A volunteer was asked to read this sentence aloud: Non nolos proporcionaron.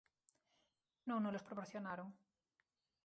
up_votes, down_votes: 0, 4